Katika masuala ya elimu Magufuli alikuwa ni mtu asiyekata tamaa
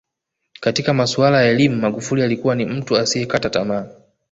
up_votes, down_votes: 1, 2